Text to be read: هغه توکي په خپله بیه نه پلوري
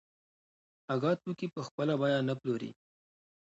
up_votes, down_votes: 2, 1